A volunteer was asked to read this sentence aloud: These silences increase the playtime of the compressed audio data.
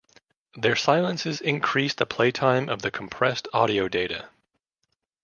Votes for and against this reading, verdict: 1, 2, rejected